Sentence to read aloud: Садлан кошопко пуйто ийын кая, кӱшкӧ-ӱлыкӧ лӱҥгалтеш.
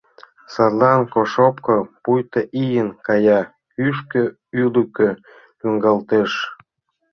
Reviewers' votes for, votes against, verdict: 1, 2, rejected